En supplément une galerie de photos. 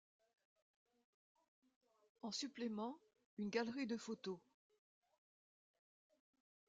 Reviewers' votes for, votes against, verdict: 2, 0, accepted